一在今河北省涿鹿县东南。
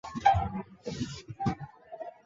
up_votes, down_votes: 4, 3